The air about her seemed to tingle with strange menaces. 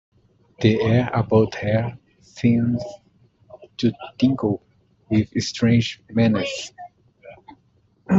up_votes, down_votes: 0, 2